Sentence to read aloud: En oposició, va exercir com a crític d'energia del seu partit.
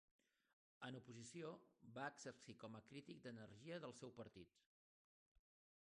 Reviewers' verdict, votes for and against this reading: rejected, 0, 2